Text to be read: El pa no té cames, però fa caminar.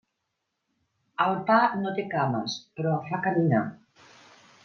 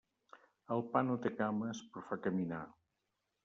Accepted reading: first